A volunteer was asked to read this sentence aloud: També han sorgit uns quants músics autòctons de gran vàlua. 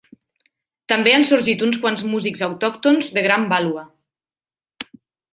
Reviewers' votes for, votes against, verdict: 2, 0, accepted